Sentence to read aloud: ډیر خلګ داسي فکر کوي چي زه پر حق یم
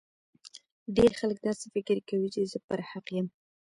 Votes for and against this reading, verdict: 2, 0, accepted